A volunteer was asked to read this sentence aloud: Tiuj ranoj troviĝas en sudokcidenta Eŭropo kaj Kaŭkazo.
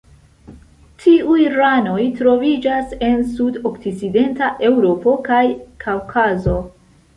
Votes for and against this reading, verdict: 2, 0, accepted